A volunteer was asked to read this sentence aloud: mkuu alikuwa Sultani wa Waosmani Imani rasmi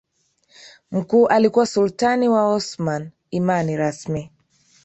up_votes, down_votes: 2, 1